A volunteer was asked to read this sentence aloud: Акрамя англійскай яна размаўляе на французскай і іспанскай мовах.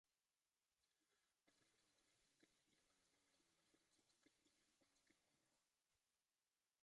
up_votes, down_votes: 0, 2